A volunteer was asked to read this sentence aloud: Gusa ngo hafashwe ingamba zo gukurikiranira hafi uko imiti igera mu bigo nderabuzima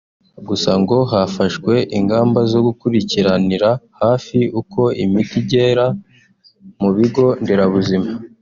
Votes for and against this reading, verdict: 2, 1, accepted